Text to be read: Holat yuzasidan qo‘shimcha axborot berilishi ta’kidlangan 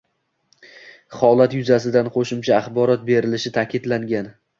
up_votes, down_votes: 2, 0